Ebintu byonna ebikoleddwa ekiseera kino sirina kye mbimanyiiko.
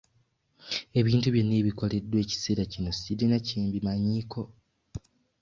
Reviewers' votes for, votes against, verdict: 2, 1, accepted